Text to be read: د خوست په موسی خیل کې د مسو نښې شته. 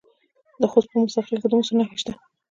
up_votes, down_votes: 1, 2